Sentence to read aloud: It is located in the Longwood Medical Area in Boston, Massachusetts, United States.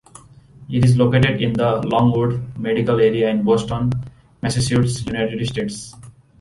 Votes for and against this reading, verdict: 1, 2, rejected